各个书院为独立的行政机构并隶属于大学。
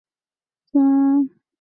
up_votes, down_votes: 0, 2